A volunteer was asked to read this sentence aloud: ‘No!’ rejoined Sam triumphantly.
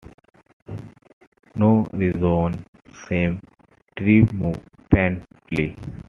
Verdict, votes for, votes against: rejected, 0, 2